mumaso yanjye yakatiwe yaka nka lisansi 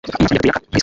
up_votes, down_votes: 1, 3